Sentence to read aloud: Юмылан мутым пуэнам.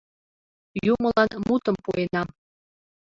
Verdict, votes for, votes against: rejected, 0, 2